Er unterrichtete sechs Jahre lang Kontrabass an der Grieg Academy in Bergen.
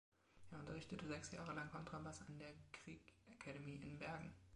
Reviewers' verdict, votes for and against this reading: accepted, 2, 0